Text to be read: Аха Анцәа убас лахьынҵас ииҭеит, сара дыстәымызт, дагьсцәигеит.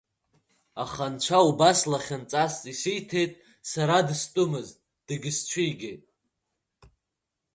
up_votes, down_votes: 2, 1